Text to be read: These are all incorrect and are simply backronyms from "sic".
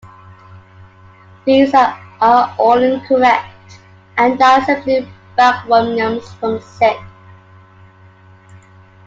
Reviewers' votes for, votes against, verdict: 2, 0, accepted